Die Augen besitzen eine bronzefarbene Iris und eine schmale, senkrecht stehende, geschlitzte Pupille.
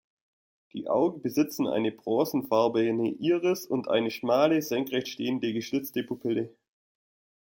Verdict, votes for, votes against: rejected, 1, 2